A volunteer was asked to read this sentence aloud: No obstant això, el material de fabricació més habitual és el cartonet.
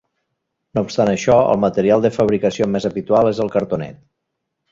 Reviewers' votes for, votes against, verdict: 2, 0, accepted